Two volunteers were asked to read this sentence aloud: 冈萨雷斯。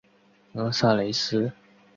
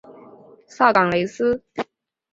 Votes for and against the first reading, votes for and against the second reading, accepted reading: 2, 0, 1, 2, first